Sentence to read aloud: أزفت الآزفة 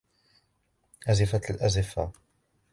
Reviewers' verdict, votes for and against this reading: rejected, 1, 2